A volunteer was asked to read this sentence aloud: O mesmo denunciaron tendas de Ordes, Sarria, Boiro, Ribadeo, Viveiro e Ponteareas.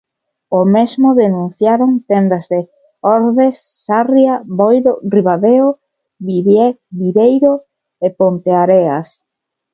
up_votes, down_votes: 1, 2